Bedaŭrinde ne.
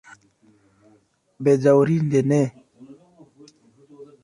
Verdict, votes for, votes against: accepted, 2, 0